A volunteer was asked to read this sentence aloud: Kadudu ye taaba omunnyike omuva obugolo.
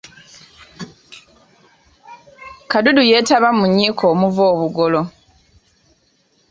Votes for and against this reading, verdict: 1, 2, rejected